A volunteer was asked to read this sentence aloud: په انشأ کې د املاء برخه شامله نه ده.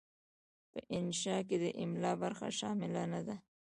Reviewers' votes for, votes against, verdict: 2, 0, accepted